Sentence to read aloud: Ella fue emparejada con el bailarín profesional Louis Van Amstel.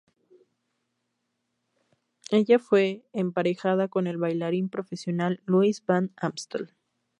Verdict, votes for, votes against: accepted, 2, 0